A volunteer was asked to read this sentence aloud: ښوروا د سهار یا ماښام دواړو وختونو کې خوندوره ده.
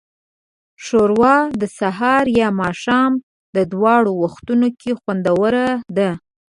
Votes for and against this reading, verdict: 2, 0, accepted